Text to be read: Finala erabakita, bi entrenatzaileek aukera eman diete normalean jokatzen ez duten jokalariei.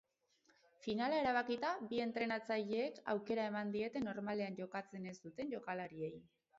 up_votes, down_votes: 0, 2